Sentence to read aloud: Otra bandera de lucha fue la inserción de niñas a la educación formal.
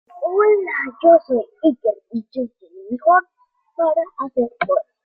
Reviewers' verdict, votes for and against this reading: rejected, 0, 2